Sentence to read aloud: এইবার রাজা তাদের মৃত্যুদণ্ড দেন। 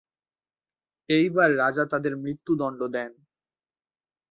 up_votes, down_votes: 2, 0